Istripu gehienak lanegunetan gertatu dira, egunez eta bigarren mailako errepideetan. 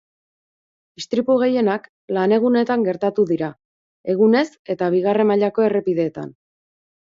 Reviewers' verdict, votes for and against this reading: accepted, 4, 0